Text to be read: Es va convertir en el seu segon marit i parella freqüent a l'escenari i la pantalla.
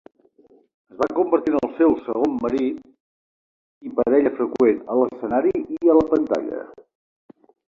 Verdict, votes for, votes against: rejected, 0, 2